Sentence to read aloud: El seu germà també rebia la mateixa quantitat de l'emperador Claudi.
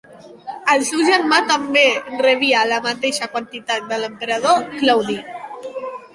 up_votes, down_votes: 0, 3